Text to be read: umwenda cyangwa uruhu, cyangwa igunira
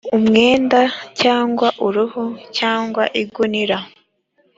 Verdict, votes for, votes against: accepted, 2, 0